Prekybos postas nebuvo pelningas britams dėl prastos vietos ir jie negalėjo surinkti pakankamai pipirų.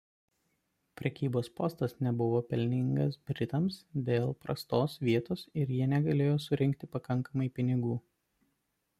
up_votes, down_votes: 0, 2